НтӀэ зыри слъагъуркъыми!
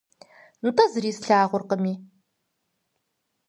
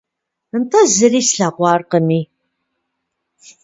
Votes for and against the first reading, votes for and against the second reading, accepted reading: 4, 0, 0, 2, first